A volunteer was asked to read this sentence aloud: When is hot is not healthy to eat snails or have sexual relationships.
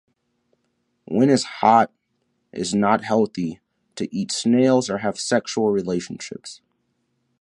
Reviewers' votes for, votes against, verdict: 2, 0, accepted